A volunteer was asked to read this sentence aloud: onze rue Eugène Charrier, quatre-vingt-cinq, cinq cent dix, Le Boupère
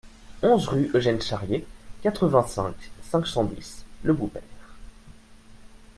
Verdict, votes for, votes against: rejected, 1, 2